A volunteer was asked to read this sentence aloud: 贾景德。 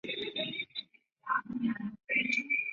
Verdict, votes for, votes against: rejected, 0, 2